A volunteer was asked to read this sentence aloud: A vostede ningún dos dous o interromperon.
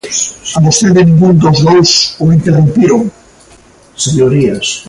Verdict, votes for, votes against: rejected, 0, 2